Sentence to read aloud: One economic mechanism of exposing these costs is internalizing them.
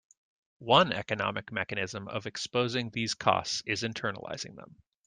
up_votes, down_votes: 2, 0